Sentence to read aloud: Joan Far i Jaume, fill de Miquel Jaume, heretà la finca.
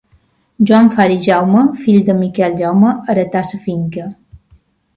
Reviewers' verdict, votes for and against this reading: rejected, 0, 2